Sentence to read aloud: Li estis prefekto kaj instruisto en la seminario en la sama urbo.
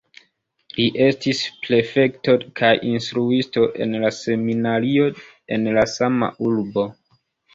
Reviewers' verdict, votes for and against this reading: rejected, 1, 2